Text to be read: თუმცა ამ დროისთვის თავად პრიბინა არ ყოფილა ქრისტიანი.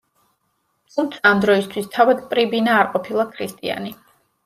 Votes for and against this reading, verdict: 2, 0, accepted